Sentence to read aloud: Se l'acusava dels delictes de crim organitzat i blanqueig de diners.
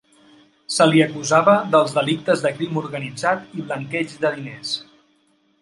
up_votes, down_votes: 0, 2